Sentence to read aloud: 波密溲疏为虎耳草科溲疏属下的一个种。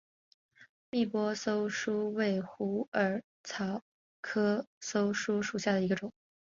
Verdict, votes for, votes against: rejected, 1, 2